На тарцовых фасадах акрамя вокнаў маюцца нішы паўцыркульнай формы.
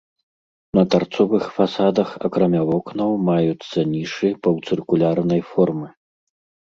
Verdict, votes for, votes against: rejected, 1, 2